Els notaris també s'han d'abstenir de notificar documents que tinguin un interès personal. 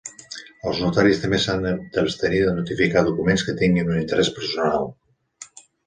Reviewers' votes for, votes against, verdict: 1, 2, rejected